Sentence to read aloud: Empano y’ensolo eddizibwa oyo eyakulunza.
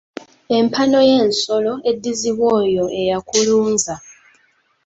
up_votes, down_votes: 2, 1